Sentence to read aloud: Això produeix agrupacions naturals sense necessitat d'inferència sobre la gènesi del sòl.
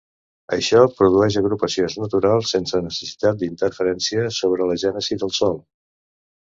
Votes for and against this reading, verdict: 1, 2, rejected